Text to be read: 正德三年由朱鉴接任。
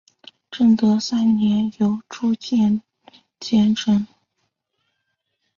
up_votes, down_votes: 3, 0